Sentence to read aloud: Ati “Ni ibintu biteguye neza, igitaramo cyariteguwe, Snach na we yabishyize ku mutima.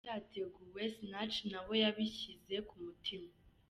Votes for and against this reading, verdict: 0, 2, rejected